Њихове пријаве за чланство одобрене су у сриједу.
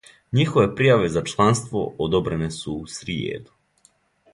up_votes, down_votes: 2, 0